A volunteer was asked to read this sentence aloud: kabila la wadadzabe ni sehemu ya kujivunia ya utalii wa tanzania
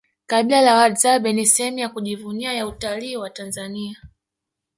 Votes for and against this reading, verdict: 2, 0, accepted